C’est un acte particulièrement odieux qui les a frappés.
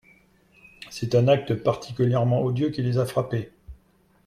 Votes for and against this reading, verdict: 2, 0, accepted